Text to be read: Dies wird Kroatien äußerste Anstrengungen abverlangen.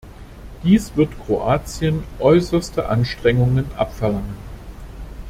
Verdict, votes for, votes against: accepted, 2, 0